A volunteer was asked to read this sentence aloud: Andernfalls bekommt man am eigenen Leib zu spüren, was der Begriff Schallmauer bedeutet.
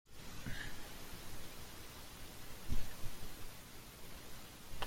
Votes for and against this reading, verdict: 0, 2, rejected